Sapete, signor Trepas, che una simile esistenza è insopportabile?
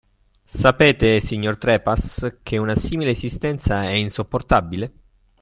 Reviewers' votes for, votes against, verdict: 2, 0, accepted